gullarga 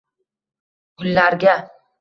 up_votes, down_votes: 2, 1